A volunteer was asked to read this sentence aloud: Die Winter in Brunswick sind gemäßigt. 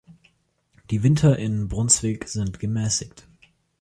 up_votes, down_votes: 2, 0